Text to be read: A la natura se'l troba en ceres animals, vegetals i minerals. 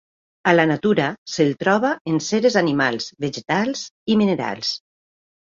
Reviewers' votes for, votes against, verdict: 2, 0, accepted